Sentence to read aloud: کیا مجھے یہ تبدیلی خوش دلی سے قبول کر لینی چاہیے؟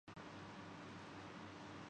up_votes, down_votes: 0, 2